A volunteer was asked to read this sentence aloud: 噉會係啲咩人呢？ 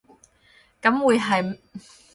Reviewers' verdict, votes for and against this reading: rejected, 2, 6